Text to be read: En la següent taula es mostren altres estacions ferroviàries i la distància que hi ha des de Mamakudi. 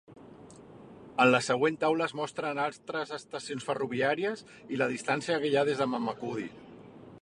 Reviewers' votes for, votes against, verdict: 0, 2, rejected